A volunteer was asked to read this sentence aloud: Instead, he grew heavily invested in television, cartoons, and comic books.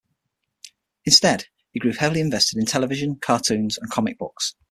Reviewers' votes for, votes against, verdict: 9, 0, accepted